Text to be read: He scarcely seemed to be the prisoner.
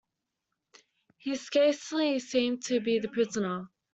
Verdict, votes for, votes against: accepted, 2, 0